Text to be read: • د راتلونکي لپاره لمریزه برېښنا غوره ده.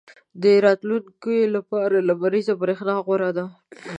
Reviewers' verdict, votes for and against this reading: accepted, 2, 0